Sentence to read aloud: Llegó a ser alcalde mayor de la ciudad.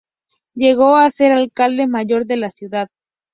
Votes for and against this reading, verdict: 2, 0, accepted